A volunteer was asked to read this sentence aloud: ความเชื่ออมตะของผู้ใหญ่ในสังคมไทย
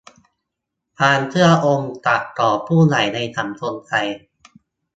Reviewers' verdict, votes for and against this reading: rejected, 0, 2